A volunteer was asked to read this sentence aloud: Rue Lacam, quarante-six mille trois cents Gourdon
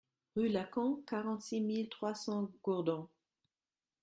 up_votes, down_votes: 1, 2